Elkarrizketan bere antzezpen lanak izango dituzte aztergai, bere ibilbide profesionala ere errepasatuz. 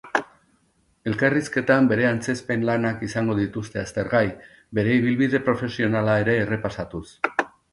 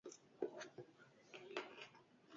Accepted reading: first